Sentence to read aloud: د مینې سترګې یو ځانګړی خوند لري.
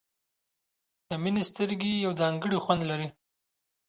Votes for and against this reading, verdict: 3, 0, accepted